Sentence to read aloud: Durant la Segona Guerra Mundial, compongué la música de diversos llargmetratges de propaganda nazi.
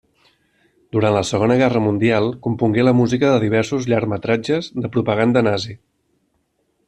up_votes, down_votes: 3, 0